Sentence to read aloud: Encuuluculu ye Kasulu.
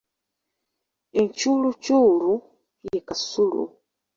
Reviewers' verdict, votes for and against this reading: accepted, 2, 1